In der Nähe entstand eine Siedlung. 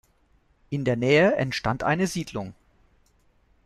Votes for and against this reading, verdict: 2, 0, accepted